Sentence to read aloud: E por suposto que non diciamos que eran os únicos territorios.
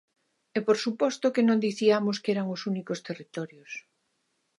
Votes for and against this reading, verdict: 2, 0, accepted